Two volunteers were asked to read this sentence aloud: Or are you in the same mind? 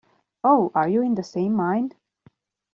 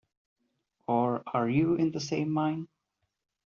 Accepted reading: second